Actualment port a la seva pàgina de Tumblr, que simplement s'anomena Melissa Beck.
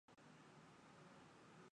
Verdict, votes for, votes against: rejected, 0, 2